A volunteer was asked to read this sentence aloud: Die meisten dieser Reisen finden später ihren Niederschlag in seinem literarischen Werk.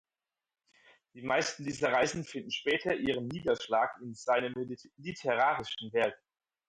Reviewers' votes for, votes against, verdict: 4, 0, accepted